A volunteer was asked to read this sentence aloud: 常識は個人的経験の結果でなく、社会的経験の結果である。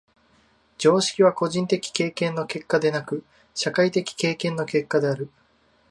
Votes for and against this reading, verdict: 2, 0, accepted